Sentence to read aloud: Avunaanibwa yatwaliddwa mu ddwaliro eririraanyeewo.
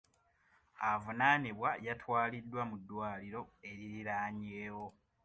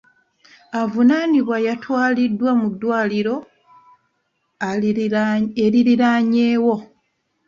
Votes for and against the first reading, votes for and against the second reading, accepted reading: 2, 0, 1, 2, first